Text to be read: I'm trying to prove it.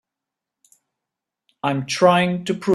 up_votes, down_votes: 0, 2